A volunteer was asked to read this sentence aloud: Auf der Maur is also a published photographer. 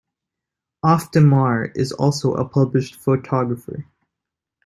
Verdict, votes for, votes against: accepted, 2, 0